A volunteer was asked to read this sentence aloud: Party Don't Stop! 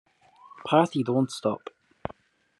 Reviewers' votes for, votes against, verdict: 2, 0, accepted